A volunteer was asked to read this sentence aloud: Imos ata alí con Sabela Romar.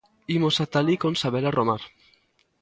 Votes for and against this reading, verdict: 2, 0, accepted